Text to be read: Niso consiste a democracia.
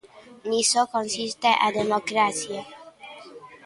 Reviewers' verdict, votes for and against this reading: accepted, 2, 0